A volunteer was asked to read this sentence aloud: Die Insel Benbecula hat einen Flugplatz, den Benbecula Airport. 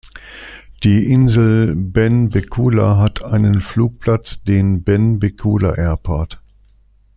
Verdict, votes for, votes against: accepted, 2, 0